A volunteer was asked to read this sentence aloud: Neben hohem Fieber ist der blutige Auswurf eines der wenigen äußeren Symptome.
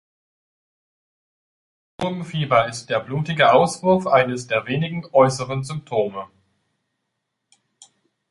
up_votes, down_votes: 0, 2